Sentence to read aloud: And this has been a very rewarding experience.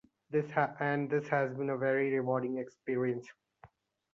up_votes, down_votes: 0, 2